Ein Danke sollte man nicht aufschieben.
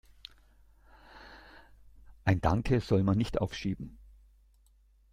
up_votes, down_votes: 1, 2